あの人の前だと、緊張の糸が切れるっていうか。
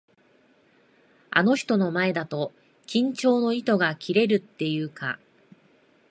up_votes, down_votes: 2, 0